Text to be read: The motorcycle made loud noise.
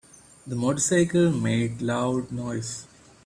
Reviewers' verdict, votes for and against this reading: accepted, 2, 0